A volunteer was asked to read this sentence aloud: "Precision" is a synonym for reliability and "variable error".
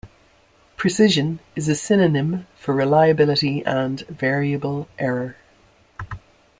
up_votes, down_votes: 2, 0